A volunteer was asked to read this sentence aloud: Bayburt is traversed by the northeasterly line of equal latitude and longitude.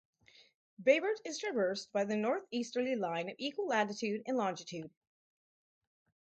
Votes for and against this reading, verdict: 6, 0, accepted